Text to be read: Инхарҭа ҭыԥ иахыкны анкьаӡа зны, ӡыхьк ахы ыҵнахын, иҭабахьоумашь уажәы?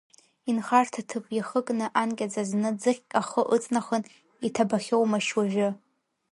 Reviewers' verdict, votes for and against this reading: accepted, 2, 0